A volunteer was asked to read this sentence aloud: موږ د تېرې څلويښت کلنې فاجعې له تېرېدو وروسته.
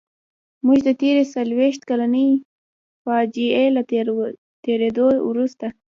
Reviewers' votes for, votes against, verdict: 2, 0, accepted